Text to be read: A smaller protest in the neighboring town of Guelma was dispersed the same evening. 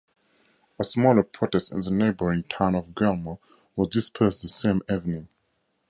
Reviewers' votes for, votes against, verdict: 4, 0, accepted